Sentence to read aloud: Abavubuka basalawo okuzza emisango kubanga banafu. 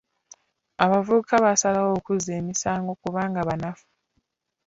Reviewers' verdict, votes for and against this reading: accepted, 2, 0